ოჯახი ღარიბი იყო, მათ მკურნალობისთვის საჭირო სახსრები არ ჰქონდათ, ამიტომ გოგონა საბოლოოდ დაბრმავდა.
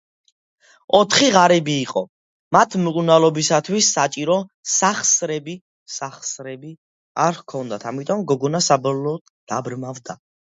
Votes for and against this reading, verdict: 0, 2, rejected